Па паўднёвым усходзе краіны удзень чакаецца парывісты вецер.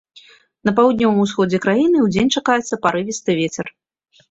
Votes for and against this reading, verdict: 0, 2, rejected